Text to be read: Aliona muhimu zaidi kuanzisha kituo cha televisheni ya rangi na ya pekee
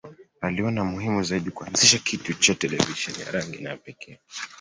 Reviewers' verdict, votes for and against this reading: rejected, 1, 2